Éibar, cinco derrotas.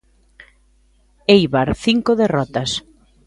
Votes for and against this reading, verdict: 2, 0, accepted